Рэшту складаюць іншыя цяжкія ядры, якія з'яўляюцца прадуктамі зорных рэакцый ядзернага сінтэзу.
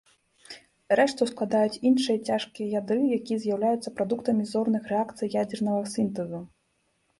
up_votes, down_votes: 3, 1